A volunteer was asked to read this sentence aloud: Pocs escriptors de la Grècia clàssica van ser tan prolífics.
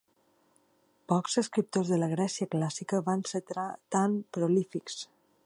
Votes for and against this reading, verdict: 1, 2, rejected